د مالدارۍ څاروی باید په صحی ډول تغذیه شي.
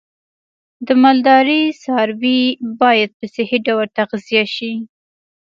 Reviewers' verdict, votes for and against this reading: rejected, 0, 2